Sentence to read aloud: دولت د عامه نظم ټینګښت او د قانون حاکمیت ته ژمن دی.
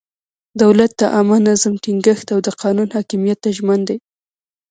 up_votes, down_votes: 1, 2